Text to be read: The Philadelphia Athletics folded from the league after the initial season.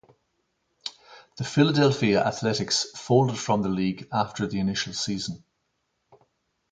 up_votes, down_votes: 2, 2